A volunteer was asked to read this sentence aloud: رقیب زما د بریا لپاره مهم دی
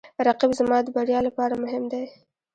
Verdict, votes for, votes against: rejected, 0, 2